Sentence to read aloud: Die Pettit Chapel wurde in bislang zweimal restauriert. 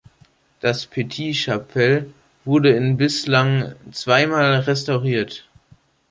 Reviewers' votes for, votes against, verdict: 0, 2, rejected